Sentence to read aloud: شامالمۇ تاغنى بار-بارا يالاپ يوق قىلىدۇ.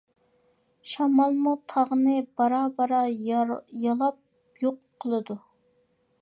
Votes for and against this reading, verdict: 1, 2, rejected